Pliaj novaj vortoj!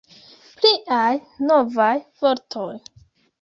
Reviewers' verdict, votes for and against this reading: accepted, 2, 1